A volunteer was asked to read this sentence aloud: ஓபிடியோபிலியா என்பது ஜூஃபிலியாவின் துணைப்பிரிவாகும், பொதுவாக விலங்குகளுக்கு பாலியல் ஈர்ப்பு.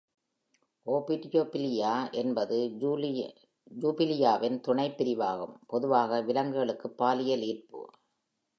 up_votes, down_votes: 0, 2